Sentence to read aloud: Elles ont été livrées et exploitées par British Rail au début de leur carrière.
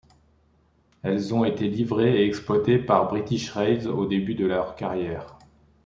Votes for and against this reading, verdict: 1, 2, rejected